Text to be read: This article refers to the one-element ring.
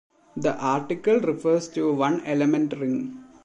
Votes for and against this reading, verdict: 1, 2, rejected